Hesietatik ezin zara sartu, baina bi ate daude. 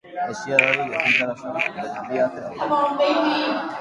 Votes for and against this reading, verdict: 0, 2, rejected